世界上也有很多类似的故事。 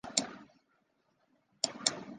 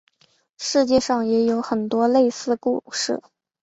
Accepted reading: second